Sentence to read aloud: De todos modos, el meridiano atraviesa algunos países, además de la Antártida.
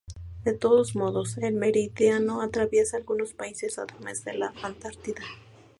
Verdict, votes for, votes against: accepted, 2, 0